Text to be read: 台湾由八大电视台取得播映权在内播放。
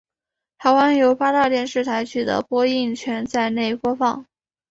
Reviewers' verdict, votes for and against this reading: accepted, 3, 0